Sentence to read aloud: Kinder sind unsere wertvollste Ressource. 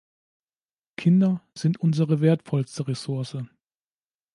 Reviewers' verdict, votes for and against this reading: accepted, 2, 0